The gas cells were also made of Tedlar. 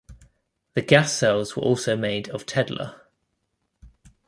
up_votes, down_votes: 2, 0